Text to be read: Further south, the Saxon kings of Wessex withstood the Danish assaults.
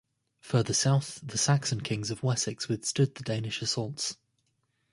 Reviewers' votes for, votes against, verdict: 2, 0, accepted